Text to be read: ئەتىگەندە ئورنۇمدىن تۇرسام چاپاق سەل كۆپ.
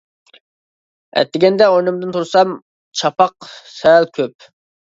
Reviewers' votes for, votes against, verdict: 2, 0, accepted